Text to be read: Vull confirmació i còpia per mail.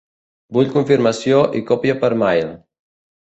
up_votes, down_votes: 2, 0